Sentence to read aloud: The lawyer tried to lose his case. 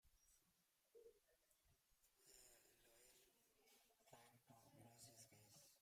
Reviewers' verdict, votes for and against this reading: rejected, 0, 2